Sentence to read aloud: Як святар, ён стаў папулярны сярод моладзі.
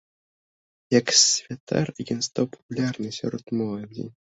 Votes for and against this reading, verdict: 2, 1, accepted